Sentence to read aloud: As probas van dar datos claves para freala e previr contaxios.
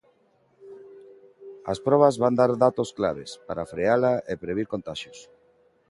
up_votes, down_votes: 3, 0